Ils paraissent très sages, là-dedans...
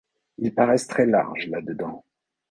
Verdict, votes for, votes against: rejected, 1, 2